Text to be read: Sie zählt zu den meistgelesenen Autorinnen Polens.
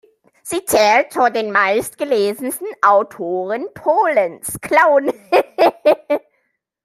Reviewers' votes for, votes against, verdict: 0, 2, rejected